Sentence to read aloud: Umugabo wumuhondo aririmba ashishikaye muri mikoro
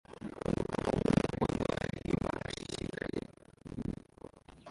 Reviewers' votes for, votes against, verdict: 0, 2, rejected